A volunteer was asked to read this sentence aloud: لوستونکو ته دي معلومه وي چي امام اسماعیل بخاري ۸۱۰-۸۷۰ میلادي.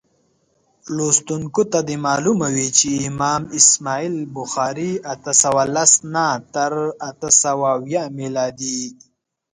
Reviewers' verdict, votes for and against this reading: rejected, 0, 2